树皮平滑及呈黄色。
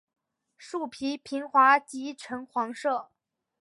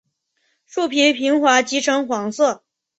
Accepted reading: second